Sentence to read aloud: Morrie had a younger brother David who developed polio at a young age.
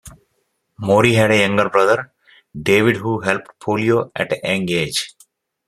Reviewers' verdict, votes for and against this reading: rejected, 0, 2